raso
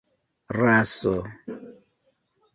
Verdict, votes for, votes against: accepted, 2, 1